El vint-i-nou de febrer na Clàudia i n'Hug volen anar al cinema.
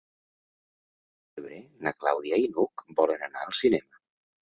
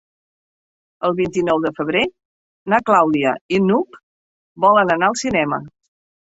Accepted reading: second